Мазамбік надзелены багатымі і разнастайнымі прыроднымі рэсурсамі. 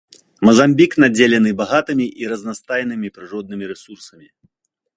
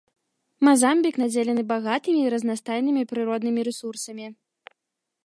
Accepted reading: first